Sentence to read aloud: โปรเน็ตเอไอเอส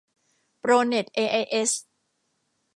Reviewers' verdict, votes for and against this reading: accepted, 2, 0